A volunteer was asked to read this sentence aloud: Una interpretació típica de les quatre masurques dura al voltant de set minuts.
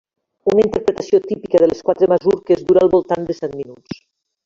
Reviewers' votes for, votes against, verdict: 1, 3, rejected